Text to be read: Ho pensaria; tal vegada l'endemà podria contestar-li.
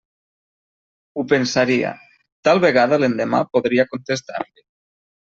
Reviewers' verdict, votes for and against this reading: rejected, 1, 2